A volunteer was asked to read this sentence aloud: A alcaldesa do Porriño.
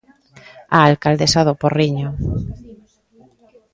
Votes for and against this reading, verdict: 2, 0, accepted